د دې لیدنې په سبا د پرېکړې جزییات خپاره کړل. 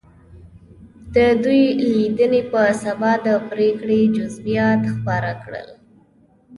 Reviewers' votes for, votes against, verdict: 2, 0, accepted